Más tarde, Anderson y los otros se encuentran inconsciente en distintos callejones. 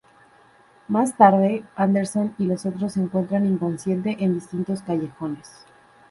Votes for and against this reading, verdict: 0, 4, rejected